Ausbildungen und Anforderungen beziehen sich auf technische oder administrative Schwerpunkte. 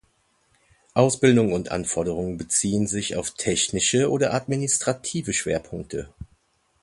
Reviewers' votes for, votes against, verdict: 1, 2, rejected